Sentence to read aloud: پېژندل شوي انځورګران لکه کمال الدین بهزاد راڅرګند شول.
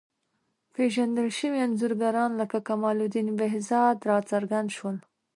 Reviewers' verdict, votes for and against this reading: accepted, 2, 0